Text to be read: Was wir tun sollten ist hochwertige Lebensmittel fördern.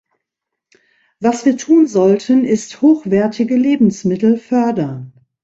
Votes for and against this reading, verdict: 2, 0, accepted